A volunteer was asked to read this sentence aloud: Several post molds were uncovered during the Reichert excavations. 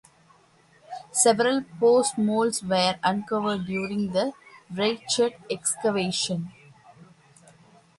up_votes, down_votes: 2, 1